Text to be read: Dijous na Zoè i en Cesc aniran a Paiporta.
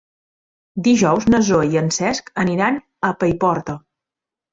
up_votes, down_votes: 3, 0